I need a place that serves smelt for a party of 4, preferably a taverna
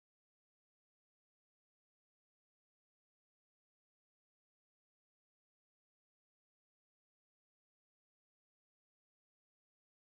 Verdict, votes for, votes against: rejected, 0, 2